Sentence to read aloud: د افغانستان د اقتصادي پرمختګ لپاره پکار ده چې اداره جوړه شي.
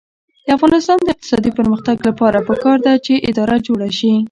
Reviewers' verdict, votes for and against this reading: rejected, 0, 2